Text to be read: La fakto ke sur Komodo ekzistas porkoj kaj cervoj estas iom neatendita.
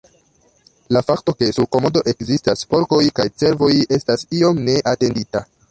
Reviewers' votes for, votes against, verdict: 1, 2, rejected